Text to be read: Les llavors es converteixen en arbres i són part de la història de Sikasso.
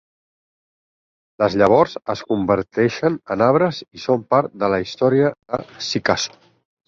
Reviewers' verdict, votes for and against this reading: rejected, 0, 6